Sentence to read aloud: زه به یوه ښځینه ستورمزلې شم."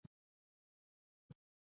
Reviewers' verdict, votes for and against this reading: rejected, 1, 2